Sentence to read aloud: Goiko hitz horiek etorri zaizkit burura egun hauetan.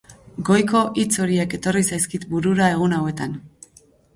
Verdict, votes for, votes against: rejected, 2, 2